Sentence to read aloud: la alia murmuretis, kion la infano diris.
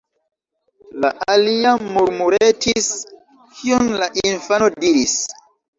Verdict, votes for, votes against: rejected, 0, 2